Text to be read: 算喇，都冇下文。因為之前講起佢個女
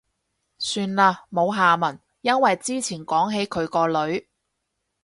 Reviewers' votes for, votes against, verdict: 0, 4, rejected